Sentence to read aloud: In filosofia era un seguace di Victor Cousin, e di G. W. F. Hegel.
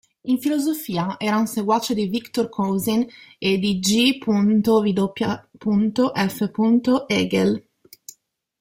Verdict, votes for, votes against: rejected, 0, 2